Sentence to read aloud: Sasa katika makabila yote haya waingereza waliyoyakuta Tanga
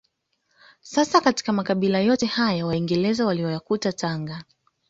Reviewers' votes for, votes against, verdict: 2, 0, accepted